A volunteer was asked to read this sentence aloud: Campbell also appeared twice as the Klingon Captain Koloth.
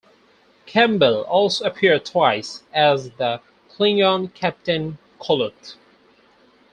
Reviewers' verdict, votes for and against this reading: accepted, 4, 0